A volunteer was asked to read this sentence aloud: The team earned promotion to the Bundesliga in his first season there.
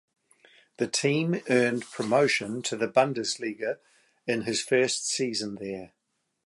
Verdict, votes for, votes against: accepted, 2, 0